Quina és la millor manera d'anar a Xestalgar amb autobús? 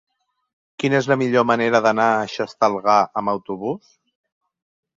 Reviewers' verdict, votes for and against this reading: accepted, 3, 0